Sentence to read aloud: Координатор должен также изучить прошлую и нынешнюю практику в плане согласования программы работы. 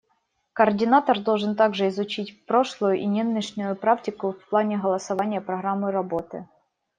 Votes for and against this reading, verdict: 0, 2, rejected